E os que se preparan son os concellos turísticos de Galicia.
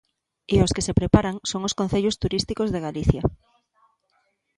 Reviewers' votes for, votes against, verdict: 2, 0, accepted